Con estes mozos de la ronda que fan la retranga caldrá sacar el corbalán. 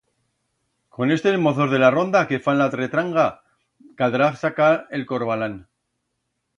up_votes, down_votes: 1, 2